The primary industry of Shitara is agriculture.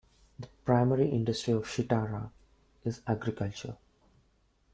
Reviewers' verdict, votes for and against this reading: accepted, 2, 0